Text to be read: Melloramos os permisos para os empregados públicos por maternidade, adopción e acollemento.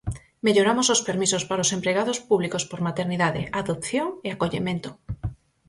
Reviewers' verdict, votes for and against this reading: accepted, 6, 0